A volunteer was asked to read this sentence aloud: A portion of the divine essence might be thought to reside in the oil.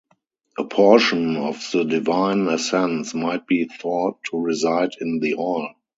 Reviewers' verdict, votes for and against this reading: rejected, 0, 2